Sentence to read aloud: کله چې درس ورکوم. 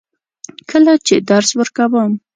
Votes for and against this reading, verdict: 2, 0, accepted